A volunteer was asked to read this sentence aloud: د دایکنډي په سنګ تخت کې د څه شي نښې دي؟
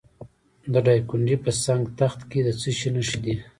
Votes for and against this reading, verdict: 2, 3, rejected